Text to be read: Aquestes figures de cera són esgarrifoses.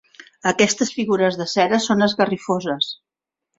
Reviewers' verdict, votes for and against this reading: rejected, 1, 2